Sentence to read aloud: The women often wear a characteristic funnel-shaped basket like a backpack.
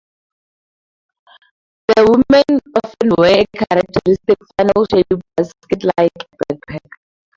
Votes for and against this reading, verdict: 0, 2, rejected